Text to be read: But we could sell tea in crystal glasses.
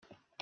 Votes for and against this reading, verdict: 0, 2, rejected